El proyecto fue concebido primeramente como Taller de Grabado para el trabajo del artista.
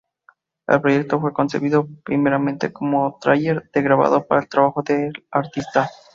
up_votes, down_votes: 0, 2